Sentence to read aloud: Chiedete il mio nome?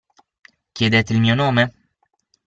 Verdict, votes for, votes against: accepted, 6, 0